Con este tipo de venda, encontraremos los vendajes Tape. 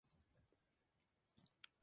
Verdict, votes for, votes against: rejected, 0, 2